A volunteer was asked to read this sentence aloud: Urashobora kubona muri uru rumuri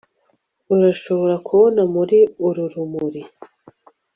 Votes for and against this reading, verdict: 3, 0, accepted